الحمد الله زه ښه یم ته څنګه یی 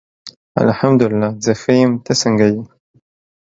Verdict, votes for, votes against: accepted, 2, 0